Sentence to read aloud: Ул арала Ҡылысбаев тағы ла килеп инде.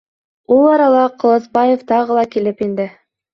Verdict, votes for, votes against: accepted, 2, 0